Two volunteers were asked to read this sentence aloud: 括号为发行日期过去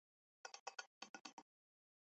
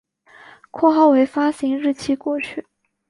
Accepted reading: second